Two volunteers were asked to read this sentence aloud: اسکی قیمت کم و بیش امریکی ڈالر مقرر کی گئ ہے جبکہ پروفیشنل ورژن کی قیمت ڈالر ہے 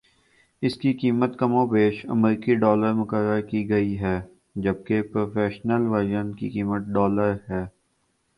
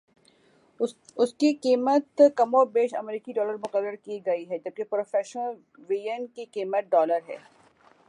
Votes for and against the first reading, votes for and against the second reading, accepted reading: 2, 1, 1, 2, first